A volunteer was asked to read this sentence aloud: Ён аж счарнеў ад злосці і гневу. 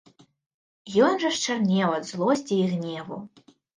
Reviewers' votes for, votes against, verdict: 1, 2, rejected